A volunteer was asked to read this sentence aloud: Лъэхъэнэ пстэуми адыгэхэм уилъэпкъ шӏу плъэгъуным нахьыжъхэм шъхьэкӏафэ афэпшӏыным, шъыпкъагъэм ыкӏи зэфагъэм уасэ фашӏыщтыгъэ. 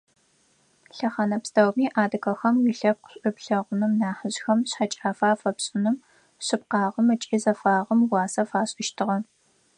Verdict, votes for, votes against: accepted, 4, 0